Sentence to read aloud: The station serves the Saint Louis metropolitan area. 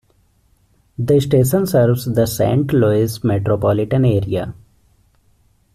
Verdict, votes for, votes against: accepted, 2, 1